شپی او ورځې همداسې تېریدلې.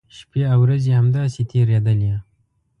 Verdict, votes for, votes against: accepted, 2, 0